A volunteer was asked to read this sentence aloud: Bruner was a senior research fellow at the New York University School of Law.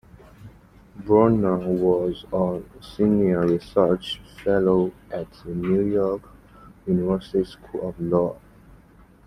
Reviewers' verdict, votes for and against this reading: accepted, 2, 1